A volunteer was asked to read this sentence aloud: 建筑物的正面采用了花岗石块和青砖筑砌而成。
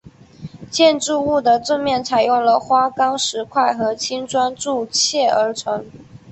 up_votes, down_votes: 2, 0